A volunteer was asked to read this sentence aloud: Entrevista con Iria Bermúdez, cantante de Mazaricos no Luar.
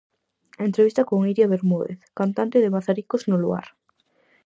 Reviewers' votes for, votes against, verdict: 4, 0, accepted